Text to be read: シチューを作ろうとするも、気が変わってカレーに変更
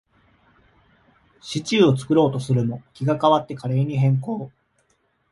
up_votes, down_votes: 2, 0